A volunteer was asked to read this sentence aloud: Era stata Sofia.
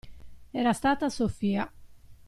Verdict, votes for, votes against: accepted, 2, 0